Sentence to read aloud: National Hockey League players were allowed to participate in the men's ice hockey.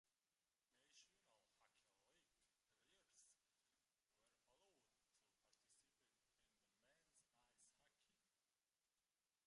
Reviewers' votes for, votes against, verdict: 0, 5, rejected